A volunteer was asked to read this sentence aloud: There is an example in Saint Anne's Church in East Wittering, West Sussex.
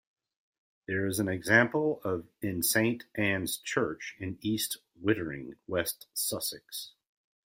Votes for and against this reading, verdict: 0, 2, rejected